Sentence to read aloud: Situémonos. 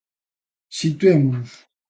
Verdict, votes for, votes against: accepted, 2, 0